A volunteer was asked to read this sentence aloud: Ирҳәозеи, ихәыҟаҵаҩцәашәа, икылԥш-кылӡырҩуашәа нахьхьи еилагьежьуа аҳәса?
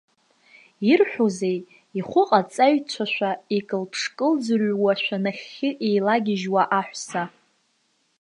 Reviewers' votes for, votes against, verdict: 0, 2, rejected